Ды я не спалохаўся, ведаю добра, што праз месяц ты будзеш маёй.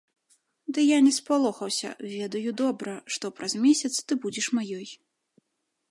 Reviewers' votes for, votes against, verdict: 2, 0, accepted